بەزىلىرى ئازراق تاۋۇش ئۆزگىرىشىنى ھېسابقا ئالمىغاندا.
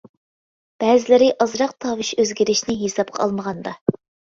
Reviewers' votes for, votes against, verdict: 2, 0, accepted